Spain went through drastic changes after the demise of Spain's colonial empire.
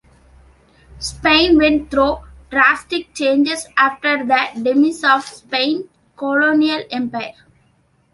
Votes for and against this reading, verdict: 0, 2, rejected